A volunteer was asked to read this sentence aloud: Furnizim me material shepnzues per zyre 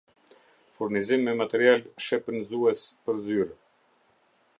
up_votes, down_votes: 0, 2